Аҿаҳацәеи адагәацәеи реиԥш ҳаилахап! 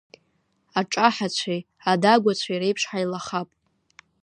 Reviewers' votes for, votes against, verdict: 0, 2, rejected